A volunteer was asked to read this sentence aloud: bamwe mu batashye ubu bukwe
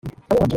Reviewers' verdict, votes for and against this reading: rejected, 0, 2